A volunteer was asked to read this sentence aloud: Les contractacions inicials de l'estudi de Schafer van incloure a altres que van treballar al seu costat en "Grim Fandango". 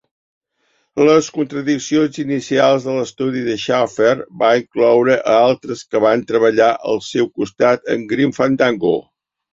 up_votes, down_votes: 0, 2